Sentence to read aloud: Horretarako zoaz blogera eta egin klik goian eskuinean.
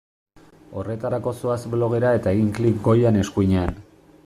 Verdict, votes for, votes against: accepted, 2, 1